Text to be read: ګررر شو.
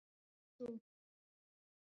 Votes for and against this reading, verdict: 0, 2, rejected